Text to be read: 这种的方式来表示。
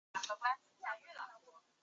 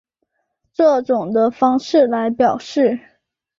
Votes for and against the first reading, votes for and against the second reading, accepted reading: 1, 4, 9, 0, second